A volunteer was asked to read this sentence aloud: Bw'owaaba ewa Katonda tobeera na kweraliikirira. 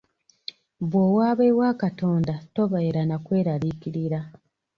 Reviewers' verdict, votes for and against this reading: accepted, 2, 0